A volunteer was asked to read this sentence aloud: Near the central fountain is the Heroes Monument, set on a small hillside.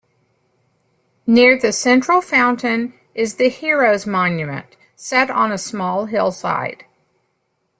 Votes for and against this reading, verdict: 2, 0, accepted